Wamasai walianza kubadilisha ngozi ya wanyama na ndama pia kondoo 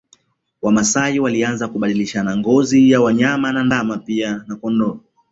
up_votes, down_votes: 0, 2